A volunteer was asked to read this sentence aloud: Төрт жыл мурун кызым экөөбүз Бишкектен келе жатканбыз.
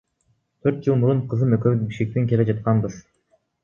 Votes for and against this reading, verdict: 2, 0, accepted